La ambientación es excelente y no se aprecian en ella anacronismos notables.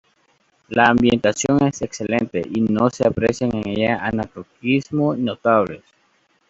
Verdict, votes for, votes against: accepted, 2, 0